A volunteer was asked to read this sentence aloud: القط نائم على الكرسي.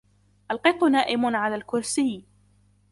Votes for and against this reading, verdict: 2, 0, accepted